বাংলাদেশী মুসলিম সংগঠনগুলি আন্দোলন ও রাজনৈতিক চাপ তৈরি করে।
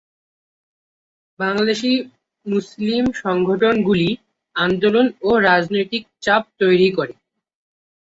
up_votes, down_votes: 4, 2